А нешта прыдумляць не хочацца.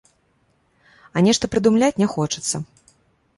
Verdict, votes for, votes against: accepted, 2, 0